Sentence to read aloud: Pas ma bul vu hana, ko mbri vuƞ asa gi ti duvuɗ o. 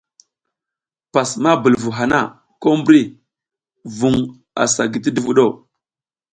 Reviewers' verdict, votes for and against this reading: accepted, 2, 0